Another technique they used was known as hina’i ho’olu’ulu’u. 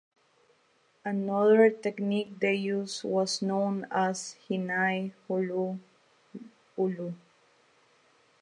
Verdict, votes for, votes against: rejected, 0, 2